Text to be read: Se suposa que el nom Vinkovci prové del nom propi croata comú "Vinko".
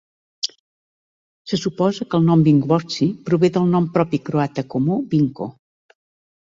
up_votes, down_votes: 2, 0